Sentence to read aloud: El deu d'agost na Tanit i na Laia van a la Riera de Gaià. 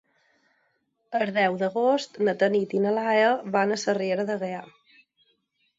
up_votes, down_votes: 2, 4